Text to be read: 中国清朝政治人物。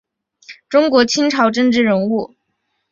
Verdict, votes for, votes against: accepted, 5, 0